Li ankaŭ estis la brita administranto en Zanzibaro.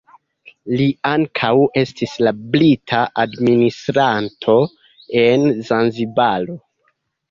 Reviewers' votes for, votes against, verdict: 2, 0, accepted